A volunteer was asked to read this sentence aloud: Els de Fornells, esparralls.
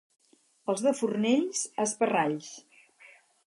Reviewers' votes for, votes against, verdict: 4, 0, accepted